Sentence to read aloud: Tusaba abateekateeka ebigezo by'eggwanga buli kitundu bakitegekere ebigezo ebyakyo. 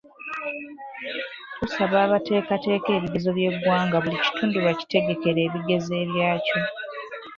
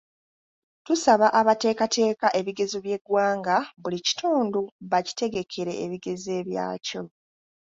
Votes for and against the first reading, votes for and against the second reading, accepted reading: 1, 2, 2, 0, second